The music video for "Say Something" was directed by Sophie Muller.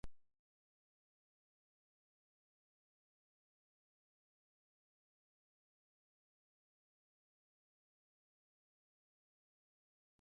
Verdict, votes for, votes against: rejected, 0, 2